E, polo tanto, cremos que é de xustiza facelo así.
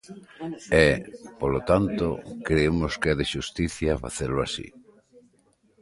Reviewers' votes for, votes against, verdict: 0, 2, rejected